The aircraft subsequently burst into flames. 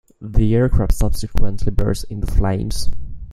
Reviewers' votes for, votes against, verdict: 2, 0, accepted